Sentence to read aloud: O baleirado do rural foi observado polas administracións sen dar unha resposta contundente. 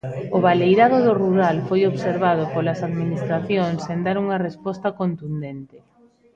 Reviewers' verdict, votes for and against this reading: rejected, 1, 2